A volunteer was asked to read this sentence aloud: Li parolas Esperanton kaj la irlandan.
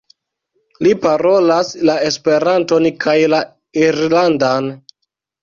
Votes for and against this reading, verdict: 0, 2, rejected